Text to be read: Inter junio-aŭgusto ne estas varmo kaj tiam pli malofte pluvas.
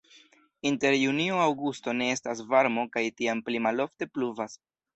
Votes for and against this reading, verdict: 2, 0, accepted